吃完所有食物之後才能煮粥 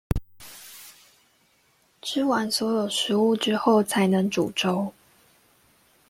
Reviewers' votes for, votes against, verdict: 2, 0, accepted